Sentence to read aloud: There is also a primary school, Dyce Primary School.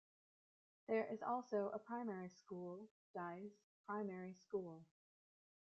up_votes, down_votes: 2, 1